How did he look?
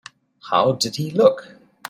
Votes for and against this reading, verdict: 2, 0, accepted